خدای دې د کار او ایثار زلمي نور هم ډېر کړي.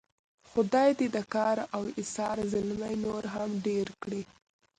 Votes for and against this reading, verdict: 2, 0, accepted